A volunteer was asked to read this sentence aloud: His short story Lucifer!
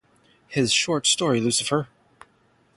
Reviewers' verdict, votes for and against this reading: accepted, 3, 0